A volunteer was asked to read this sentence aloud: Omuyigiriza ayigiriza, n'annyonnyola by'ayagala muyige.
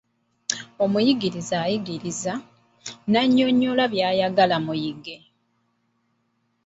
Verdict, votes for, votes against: accepted, 2, 0